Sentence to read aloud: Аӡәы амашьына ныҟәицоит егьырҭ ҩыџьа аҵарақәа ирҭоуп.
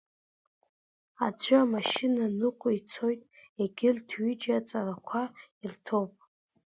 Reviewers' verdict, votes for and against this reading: accepted, 2, 0